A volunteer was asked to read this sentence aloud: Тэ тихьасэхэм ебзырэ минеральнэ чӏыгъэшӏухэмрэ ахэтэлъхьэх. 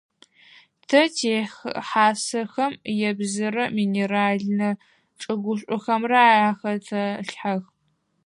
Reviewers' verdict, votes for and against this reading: rejected, 2, 4